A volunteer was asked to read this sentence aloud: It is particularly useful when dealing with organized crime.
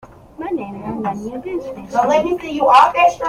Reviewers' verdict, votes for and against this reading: rejected, 0, 2